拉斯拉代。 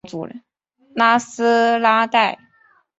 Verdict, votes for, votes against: accepted, 4, 0